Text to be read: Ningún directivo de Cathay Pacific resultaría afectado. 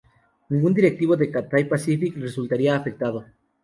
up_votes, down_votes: 2, 0